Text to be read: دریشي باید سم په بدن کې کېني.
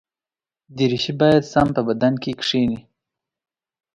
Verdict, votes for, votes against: accepted, 2, 0